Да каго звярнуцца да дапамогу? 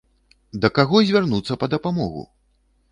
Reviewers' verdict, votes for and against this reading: rejected, 1, 2